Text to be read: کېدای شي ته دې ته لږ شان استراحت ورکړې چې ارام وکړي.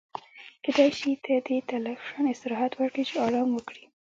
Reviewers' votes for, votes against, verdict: 1, 2, rejected